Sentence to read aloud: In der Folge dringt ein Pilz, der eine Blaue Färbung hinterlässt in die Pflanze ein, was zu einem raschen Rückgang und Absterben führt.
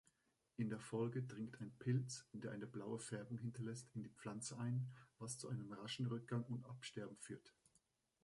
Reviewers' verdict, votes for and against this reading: accepted, 5, 3